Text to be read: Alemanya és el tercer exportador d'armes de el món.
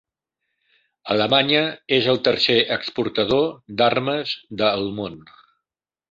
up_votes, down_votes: 2, 0